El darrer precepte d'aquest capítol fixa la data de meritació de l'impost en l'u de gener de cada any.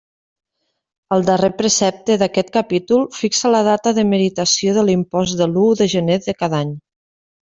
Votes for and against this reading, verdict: 1, 2, rejected